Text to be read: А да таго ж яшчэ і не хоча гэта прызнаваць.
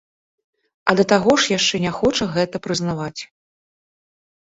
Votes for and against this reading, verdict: 0, 2, rejected